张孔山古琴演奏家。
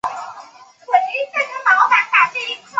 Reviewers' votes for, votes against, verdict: 0, 5, rejected